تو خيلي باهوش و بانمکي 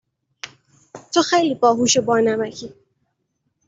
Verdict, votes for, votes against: accepted, 2, 0